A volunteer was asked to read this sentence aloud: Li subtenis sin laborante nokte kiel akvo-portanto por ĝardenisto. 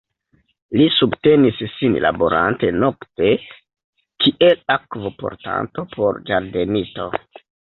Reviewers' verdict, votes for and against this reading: accepted, 2, 0